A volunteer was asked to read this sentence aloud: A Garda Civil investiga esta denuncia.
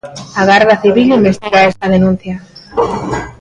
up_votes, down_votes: 2, 0